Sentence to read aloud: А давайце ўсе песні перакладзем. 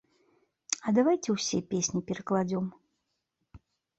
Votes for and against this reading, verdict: 1, 2, rejected